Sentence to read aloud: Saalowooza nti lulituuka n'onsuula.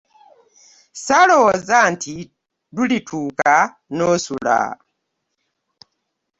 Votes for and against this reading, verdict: 0, 2, rejected